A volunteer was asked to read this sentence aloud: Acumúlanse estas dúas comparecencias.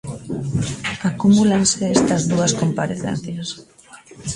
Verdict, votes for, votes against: accepted, 2, 1